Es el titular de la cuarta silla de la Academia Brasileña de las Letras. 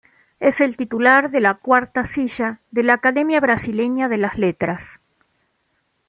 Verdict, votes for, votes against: accepted, 2, 0